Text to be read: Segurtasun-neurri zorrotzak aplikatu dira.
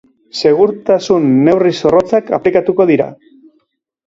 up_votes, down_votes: 0, 2